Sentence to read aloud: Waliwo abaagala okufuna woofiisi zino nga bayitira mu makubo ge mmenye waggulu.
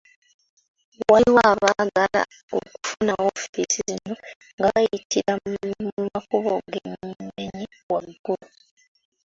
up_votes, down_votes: 0, 2